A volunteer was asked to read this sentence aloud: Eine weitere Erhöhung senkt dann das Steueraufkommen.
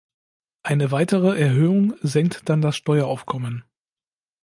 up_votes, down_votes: 2, 0